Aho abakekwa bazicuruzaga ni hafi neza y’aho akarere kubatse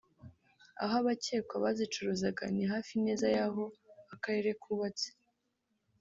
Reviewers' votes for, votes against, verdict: 2, 0, accepted